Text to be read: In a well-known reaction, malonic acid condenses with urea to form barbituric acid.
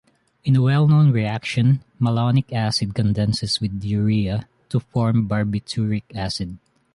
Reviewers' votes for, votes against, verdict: 2, 1, accepted